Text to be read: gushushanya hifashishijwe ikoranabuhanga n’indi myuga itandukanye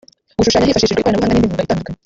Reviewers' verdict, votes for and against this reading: rejected, 0, 2